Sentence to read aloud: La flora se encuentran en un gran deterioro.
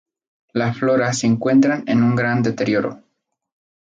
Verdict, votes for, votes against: rejected, 2, 2